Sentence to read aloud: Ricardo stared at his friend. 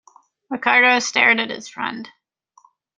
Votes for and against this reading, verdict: 1, 2, rejected